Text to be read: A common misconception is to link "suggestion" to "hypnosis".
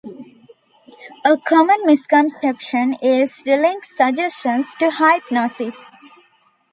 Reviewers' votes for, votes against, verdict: 2, 1, accepted